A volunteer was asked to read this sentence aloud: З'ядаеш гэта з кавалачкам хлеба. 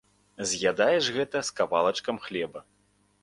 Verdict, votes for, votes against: accepted, 2, 0